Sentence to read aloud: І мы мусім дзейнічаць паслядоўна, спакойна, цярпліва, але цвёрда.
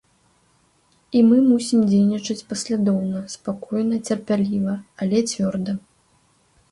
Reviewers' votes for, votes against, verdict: 1, 3, rejected